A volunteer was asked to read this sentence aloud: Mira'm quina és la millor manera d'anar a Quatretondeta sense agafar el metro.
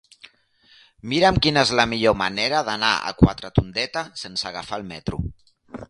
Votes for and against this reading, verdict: 2, 0, accepted